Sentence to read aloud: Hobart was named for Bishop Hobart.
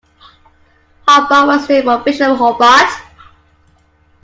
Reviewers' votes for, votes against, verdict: 0, 2, rejected